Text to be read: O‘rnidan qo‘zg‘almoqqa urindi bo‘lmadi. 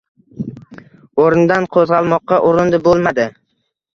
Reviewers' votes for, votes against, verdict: 2, 0, accepted